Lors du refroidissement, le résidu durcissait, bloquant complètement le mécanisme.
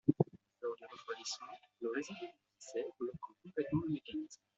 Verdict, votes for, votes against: rejected, 0, 2